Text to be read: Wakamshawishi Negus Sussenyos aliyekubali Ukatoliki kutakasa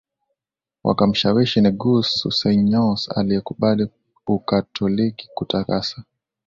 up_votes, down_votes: 2, 0